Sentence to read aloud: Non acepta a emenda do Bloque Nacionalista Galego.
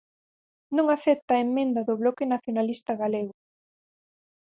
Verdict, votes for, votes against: rejected, 0, 4